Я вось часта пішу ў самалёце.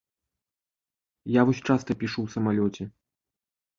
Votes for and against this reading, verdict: 2, 0, accepted